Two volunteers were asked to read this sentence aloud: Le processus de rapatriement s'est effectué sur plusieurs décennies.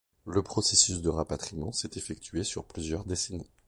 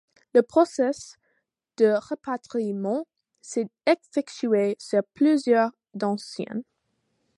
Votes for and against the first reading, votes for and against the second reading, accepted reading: 2, 0, 1, 2, first